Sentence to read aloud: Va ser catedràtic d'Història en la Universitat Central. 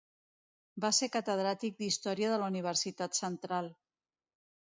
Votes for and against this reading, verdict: 0, 2, rejected